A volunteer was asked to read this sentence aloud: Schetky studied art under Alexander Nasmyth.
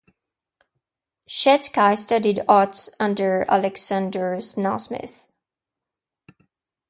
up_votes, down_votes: 0, 2